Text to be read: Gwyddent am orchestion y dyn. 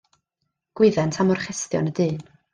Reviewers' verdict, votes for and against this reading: accepted, 2, 0